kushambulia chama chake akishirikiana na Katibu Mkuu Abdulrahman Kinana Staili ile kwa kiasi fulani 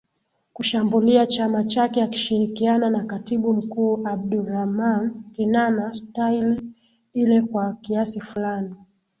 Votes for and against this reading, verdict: 0, 2, rejected